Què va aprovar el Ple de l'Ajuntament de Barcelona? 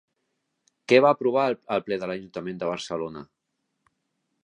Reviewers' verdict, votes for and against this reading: rejected, 1, 2